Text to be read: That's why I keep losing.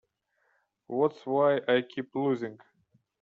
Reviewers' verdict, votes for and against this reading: rejected, 0, 3